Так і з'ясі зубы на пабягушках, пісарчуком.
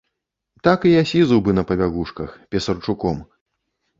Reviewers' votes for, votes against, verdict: 1, 2, rejected